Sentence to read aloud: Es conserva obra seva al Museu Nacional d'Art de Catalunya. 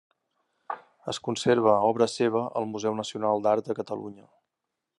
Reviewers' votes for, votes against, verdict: 4, 2, accepted